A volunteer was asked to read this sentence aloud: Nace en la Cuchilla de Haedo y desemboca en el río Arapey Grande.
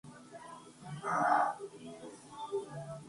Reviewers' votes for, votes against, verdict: 0, 2, rejected